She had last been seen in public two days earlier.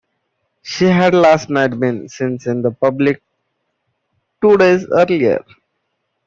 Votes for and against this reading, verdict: 0, 2, rejected